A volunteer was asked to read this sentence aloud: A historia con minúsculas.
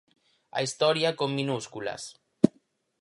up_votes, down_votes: 4, 0